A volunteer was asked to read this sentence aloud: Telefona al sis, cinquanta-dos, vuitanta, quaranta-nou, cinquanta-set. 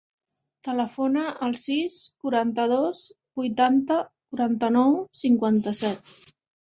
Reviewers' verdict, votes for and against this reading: rejected, 0, 2